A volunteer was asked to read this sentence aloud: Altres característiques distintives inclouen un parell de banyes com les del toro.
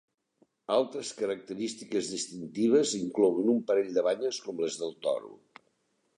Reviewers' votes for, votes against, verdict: 2, 0, accepted